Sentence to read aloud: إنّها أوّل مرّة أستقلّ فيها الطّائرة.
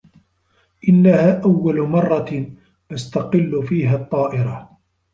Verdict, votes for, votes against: accepted, 2, 0